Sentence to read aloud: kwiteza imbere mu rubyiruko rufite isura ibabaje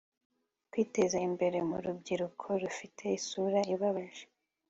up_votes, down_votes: 3, 0